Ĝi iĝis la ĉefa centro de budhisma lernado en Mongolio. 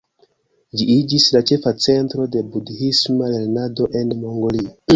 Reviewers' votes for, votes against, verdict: 1, 2, rejected